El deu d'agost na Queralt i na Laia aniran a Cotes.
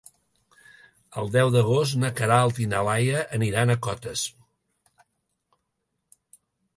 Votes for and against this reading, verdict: 2, 0, accepted